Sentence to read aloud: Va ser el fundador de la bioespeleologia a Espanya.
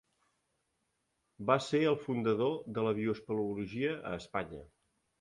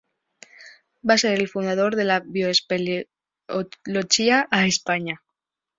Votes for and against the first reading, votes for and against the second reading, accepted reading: 2, 0, 1, 2, first